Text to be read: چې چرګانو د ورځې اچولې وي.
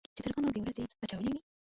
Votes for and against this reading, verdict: 1, 2, rejected